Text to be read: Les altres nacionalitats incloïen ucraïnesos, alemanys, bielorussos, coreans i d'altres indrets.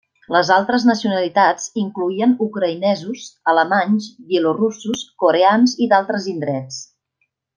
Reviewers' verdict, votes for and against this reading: accepted, 3, 0